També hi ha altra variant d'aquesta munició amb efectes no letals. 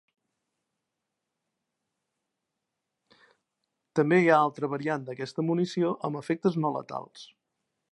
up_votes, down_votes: 3, 0